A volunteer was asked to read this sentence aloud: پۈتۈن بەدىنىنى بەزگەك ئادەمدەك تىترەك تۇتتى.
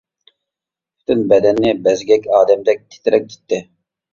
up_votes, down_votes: 0, 2